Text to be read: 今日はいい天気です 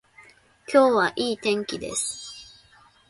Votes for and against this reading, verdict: 2, 0, accepted